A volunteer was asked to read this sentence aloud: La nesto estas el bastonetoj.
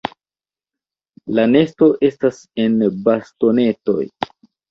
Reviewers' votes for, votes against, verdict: 1, 2, rejected